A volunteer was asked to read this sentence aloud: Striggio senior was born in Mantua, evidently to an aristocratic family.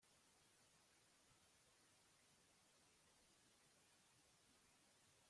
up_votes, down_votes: 0, 2